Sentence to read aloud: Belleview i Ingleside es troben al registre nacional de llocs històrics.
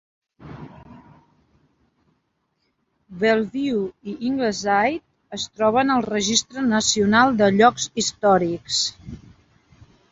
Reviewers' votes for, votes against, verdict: 2, 0, accepted